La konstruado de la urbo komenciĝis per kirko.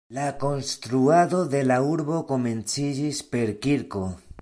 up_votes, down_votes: 2, 0